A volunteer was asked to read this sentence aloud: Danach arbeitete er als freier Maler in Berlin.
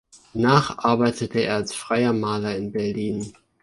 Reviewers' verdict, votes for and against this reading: rejected, 1, 3